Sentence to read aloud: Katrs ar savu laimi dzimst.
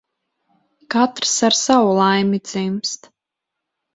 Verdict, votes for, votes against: accepted, 4, 0